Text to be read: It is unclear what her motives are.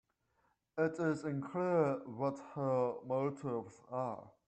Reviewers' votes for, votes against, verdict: 2, 0, accepted